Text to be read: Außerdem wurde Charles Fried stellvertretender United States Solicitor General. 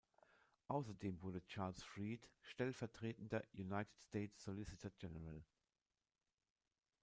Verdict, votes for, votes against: accepted, 2, 0